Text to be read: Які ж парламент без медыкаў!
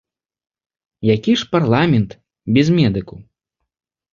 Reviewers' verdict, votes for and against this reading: accepted, 2, 0